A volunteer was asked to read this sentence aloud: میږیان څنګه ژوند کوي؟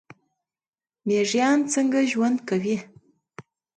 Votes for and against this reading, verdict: 2, 0, accepted